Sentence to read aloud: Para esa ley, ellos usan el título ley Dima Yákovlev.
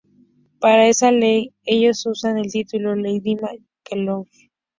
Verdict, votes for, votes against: rejected, 0, 2